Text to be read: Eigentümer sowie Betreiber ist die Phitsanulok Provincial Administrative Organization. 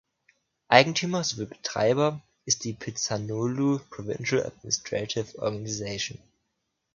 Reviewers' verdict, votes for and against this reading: rejected, 1, 2